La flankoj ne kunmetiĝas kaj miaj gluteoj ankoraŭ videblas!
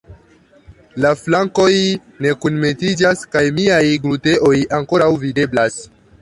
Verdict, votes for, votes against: accepted, 2, 0